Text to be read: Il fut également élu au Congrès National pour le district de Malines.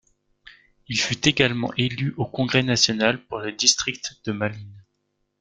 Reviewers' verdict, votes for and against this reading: rejected, 1, 2